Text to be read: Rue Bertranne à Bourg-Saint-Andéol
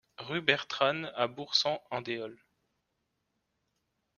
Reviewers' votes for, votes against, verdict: 1, 2, rejected